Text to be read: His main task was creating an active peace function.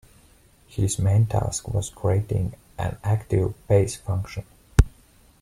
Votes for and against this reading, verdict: 2, 0, accepted